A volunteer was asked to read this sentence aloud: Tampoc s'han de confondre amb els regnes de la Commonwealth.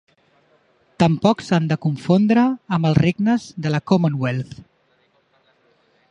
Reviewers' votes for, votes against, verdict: 4, 0, accepted